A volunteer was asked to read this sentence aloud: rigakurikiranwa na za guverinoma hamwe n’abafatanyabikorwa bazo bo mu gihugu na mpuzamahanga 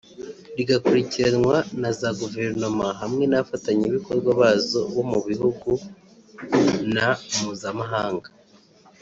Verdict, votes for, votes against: rejected, 0, 2